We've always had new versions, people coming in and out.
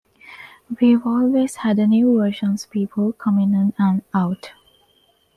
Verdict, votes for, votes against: rejected, 1, 2